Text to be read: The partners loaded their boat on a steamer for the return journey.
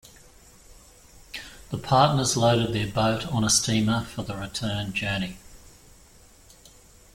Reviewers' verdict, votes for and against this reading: accepted, 2, 0